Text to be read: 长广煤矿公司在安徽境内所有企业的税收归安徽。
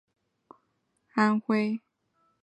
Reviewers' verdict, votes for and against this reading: rejected, 1, 8